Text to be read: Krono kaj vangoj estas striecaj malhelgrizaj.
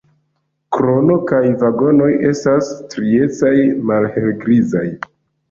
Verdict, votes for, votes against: rejected, 0, 2